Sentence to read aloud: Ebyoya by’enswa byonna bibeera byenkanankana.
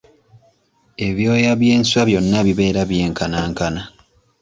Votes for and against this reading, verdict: 0, 2, rejected